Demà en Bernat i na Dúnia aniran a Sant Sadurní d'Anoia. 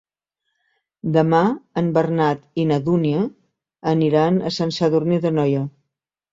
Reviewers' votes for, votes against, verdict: 2, 0, accepted